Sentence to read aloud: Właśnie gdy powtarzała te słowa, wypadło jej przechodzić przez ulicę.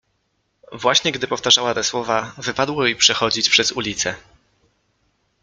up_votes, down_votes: 2, 0